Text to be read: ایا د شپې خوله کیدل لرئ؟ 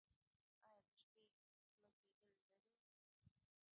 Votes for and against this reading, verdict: 0, 2, rejected